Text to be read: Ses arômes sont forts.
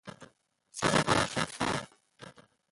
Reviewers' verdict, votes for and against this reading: rejected, 0, 2